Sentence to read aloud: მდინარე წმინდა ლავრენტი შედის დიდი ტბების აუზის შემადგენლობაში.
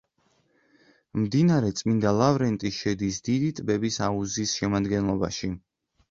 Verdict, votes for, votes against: accepted, 2, 0